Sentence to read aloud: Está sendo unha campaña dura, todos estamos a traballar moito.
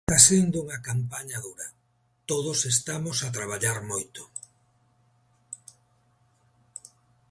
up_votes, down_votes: 1, 2